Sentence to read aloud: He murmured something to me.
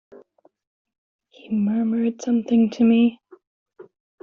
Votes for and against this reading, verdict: 2, 0, accepted